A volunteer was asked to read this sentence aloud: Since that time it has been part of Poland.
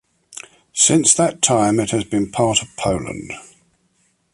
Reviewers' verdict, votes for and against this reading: accepted, 2, 0